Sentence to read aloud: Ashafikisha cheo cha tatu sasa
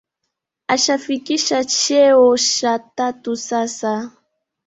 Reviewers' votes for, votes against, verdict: 1, 2, rejected